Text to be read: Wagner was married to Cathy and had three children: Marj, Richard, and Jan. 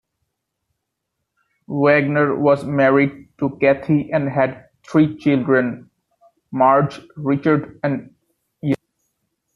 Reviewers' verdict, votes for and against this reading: rejected, 1, 2